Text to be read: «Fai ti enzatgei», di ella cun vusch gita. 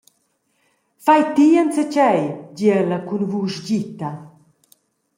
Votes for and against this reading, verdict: 2, 0, accepted